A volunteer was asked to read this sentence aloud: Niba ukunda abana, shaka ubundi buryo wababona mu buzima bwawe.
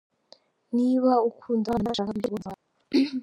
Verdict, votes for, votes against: rejected, 0, 2